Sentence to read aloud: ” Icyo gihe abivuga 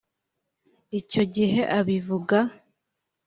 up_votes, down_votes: 2, 0